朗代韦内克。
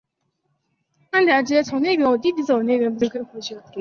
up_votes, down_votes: 1, 4